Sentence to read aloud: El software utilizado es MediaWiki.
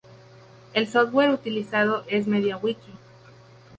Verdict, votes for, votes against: accepted, 2, 0